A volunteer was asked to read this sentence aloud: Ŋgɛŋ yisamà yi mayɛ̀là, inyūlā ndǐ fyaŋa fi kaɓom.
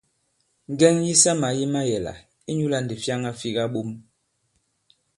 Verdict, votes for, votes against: accepted, 2, 0